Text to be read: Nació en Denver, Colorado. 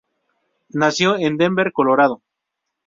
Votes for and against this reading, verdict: 4, 0, accepted